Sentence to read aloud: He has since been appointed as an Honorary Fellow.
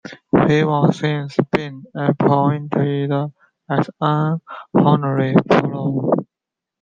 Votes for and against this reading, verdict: 3, 0, accepted